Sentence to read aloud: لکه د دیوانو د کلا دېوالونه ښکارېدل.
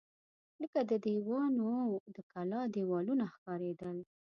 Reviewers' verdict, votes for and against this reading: accepted, 2, 0